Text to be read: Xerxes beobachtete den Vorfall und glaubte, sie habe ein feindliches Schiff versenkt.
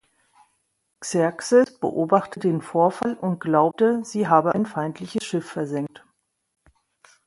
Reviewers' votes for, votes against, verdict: 0, 2, rejected